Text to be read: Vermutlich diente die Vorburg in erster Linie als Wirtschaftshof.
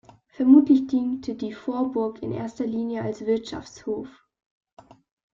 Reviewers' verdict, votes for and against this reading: accepted, 2, 0